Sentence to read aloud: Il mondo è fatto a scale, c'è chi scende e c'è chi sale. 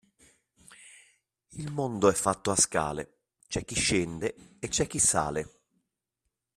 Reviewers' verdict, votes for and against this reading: accepted, 2, 0